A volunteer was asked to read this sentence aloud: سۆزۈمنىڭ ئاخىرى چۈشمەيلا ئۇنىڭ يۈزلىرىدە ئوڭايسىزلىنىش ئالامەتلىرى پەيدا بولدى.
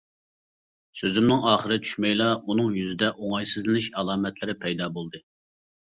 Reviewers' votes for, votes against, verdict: 0, 2, rejected